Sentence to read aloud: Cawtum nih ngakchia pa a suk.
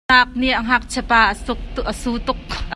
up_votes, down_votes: 1, 2